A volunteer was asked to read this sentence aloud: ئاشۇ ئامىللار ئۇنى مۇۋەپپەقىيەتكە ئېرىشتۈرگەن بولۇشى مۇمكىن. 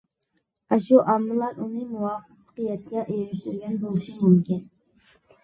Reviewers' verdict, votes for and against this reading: accepted, 2, 1